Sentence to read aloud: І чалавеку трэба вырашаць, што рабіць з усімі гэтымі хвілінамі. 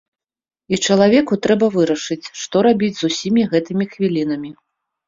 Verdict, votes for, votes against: rejected, 1, 2